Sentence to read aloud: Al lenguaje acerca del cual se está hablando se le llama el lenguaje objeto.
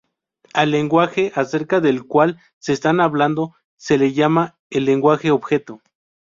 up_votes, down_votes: 0, 4